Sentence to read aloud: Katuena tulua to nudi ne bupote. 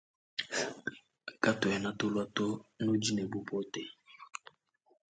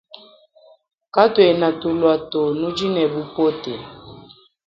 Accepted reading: second